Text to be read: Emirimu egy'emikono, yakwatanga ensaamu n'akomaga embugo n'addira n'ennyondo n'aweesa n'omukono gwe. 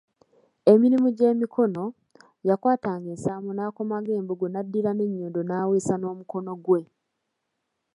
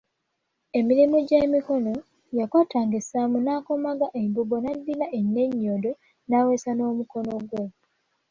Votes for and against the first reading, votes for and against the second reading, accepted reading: 2, 0, 1, 2, first